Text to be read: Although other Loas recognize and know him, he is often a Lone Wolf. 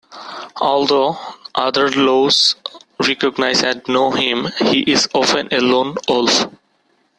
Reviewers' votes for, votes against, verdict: 2, 1, accepted